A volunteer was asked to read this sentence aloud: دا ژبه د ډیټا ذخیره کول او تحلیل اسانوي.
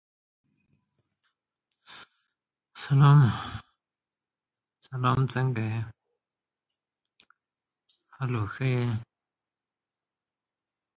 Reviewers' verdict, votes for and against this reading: rejected, 0, 2